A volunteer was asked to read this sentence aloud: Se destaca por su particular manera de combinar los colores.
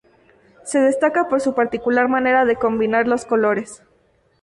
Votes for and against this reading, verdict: 2, 0, accepted